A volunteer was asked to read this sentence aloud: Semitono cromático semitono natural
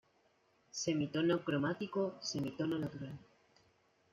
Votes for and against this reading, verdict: 2, 1, accepted